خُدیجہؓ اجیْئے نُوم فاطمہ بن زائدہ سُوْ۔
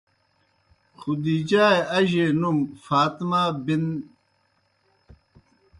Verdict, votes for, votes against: rejected, 0, 2